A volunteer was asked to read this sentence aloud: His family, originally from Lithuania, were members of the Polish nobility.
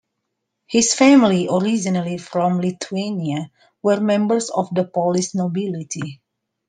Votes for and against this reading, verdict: 2, 0, accepted